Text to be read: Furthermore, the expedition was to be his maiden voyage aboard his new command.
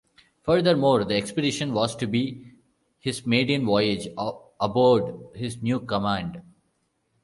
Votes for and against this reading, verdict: 0, 2, rejected